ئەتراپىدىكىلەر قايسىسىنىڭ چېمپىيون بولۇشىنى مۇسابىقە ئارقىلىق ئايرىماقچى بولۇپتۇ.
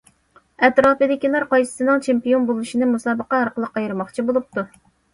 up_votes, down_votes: 2, 0